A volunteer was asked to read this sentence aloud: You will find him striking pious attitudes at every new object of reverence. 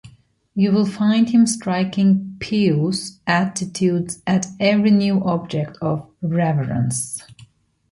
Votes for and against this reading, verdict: 1, 2, rejected